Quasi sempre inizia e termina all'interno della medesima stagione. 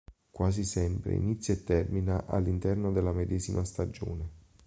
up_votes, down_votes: 2, 0